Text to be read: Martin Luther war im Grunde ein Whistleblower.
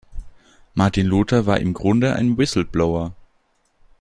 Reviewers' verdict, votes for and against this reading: accepted, 2, 0